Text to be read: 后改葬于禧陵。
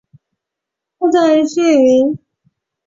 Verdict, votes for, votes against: rejected, 0, 2